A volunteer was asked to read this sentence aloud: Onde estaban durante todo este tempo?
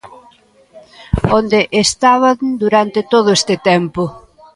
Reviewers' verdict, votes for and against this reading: accepted, 2, 0